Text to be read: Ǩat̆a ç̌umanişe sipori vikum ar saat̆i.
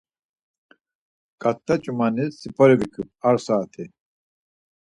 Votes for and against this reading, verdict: 2, 4, rejected